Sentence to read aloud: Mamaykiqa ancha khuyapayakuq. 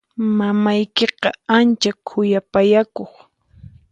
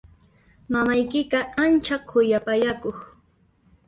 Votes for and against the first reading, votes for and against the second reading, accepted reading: 4, 0, 1, 2, first